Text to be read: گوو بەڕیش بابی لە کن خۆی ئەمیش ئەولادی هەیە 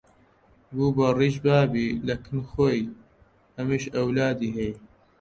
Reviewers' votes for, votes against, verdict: 2, 0, accepted